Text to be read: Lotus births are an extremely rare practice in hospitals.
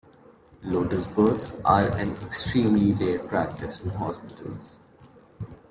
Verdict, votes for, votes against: rejected, 1, 2